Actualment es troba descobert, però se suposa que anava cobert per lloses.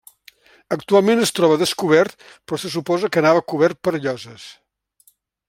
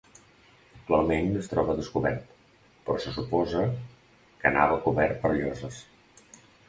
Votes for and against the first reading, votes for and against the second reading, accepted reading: 3, 0, 0, 2, first